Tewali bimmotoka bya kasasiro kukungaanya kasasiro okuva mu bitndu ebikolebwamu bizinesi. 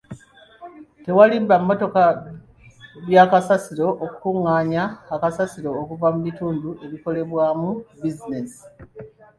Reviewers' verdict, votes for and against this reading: rejected, 0, 2